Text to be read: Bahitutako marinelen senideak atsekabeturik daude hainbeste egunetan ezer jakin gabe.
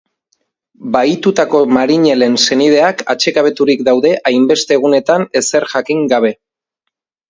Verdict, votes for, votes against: accepted, 2, 0